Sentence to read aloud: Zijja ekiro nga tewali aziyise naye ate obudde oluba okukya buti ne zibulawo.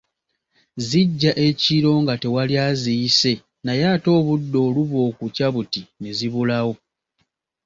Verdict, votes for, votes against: accepted, 2, 0